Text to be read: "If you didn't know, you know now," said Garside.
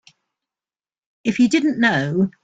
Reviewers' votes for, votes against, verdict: 0, 2, rejected